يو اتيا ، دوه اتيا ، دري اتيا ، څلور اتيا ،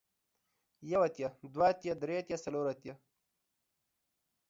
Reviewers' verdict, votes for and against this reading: accepted, 2, 0